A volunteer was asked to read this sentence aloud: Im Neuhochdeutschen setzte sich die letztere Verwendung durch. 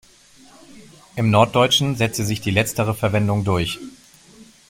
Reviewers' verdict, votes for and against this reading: rejected, 0, 2